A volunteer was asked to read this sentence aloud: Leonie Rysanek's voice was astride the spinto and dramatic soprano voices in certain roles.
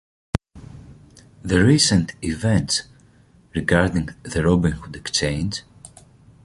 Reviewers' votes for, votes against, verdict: 1, 2, rejected